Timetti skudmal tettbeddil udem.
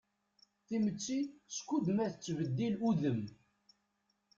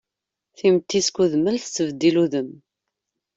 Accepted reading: second